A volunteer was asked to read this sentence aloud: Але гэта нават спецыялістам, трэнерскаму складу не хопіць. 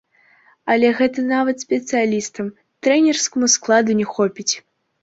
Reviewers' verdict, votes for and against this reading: accepted, 2, 1